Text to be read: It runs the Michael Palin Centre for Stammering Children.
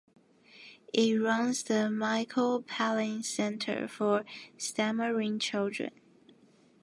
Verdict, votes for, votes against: accepted, 2, 1